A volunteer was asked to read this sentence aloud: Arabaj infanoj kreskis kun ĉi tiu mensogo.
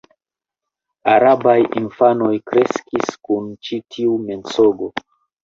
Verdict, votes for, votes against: accepted, 2, 0